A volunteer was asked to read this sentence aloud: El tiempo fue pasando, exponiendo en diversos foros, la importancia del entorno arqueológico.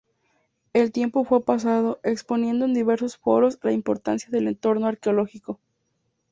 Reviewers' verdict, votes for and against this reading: accepted, 2, 0